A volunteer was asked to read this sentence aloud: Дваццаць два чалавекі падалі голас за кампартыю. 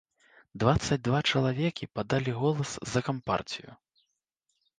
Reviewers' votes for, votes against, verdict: 0, 2, rejected